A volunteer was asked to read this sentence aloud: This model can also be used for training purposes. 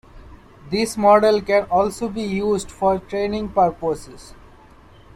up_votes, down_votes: 2, 1